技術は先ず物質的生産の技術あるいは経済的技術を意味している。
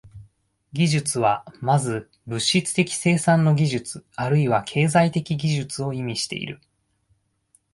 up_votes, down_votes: 2, 0